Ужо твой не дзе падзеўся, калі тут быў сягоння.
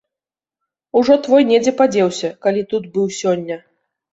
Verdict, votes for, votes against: rejected, 1, 2